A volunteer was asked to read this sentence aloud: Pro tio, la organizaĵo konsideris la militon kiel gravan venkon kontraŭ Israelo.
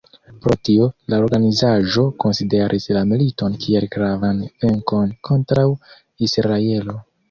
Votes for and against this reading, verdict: 2, 0, accepted